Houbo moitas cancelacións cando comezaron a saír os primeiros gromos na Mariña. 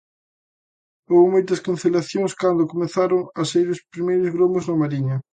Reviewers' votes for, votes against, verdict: 2, 0, accepted